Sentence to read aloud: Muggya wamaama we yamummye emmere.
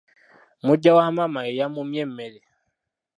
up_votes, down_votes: 2, 1